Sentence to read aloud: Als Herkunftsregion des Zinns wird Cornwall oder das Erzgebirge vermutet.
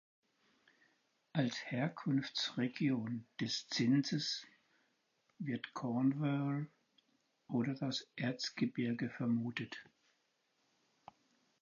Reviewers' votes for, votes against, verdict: 0, 4, rejected